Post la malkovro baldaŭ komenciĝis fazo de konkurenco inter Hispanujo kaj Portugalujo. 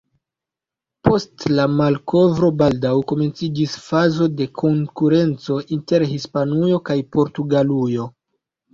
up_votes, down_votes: 0, 2